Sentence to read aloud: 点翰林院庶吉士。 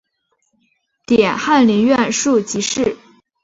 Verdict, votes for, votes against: accepted, 2, 0